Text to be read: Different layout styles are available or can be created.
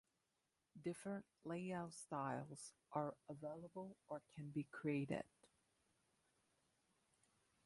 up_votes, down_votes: 1, 2